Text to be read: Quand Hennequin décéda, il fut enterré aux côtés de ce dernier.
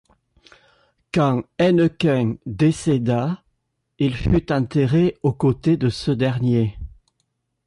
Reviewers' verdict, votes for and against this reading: accepted, 2, 0